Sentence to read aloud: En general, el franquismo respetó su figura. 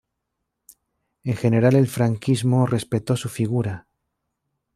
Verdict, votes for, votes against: accepted, 2, 0